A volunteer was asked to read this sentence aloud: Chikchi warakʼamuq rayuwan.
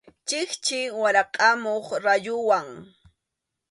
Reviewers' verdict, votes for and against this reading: accepted, 2, 0